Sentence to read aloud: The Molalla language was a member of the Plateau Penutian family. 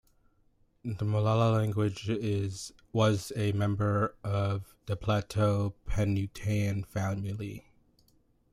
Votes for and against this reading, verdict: 2, 1, accepted